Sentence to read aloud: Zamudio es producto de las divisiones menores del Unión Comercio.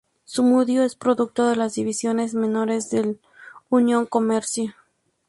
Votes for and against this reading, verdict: 0, 2, rejected